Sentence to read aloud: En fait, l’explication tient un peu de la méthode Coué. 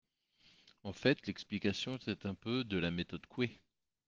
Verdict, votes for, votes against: rejected, 0, 2